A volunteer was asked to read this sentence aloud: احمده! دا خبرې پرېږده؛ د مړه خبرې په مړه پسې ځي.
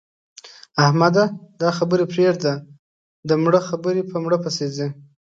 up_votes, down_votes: 2, 0